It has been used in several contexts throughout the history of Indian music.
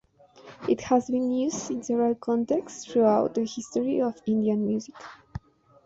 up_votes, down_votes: 2, 0